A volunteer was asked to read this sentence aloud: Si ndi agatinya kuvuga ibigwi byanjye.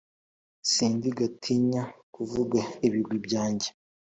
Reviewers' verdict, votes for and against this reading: accepted, 2, 0